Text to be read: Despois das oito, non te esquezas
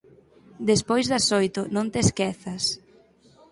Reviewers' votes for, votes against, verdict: 4, 0, accepted